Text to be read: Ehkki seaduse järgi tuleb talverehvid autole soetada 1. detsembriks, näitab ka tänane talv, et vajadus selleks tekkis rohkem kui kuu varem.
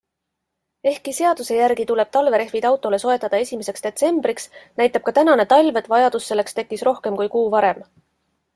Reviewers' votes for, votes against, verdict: 0, 2, rejected